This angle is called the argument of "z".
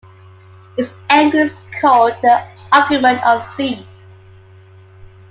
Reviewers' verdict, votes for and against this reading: accepted, 2, 0